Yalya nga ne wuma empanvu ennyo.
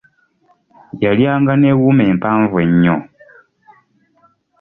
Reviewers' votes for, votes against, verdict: 2, 0, accepted